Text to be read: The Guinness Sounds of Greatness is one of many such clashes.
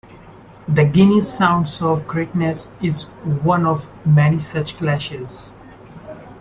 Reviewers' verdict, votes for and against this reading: accepted, 2, 0